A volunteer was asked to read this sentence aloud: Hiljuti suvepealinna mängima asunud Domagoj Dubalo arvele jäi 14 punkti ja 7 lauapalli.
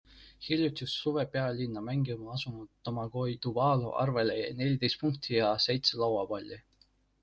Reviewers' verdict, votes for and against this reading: rejected, 0, 2